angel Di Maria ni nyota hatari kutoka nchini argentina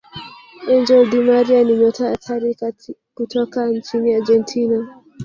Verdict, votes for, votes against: rejected, 0, 2